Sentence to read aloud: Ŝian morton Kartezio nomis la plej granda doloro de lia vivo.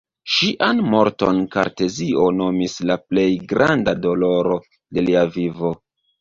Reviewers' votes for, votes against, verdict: 1, 2, rejected